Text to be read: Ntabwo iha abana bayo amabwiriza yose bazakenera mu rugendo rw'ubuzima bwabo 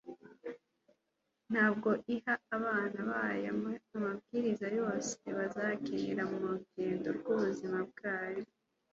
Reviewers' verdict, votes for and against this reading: accepted, 2, 0